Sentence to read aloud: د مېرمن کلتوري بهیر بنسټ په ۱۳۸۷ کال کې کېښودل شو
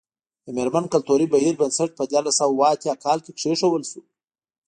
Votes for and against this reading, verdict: 0, 2, rejected